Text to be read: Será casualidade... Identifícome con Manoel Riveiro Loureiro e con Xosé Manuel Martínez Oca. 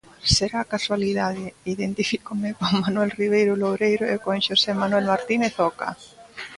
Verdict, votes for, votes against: accepted, 2, 1